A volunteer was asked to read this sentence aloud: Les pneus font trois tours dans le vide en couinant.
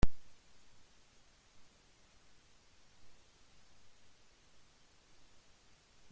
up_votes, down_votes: 0, 2